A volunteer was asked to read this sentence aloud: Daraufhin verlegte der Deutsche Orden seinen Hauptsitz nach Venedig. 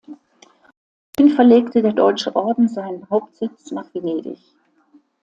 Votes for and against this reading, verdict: 1, 2, rejected